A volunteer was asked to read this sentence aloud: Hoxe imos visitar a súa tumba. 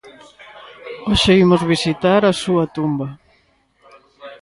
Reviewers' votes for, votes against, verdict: 1, 2, rejected